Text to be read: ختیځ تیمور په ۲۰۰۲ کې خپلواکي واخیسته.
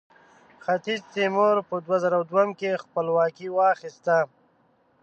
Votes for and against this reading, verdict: 0, 2, rejected